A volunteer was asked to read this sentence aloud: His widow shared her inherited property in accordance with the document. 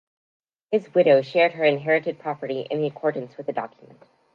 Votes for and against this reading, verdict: 2, 0, accepted